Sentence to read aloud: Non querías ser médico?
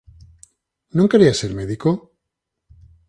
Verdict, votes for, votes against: accepted, 4, 0